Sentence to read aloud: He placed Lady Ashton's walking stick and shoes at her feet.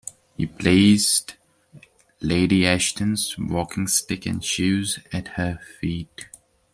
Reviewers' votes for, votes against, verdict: 2, 0, accepted